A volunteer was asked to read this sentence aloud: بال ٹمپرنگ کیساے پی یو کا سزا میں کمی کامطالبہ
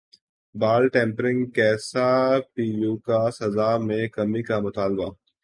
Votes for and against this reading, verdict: 2, 0, accepted